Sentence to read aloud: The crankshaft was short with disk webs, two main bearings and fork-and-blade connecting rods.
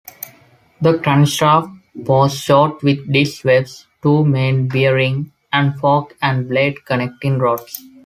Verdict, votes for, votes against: accepted, 2, 0